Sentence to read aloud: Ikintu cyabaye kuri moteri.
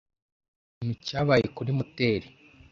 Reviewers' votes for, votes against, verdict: 1, 2, rejected